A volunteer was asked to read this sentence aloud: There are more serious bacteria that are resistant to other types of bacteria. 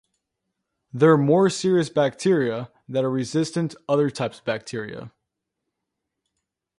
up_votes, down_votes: 2, 1